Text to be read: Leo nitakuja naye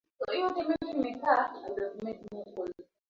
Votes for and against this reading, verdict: 0, 3, rejected